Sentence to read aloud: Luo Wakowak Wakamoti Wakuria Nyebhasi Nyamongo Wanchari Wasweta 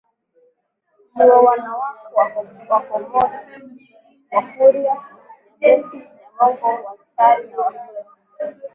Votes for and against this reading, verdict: 0, 2, rejected